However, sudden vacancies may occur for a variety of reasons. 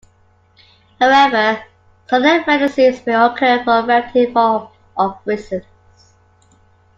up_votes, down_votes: 0, 2